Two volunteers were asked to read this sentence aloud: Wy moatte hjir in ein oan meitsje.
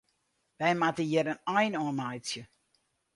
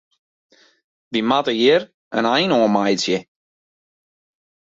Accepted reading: first